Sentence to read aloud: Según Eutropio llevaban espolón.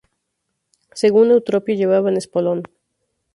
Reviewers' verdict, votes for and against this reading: accepted, 2, 0